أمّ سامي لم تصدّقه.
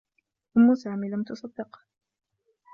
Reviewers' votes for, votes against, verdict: 2, 0, accepted